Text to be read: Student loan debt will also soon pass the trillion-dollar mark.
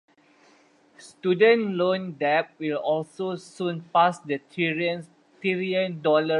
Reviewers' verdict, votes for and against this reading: rejected, 0, 2